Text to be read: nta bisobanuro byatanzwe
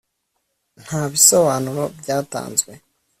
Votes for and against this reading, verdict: 2, 0, accepted